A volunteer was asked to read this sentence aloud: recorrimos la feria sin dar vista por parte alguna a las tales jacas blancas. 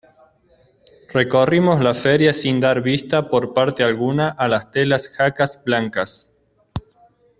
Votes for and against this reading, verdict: 0, 2, rejected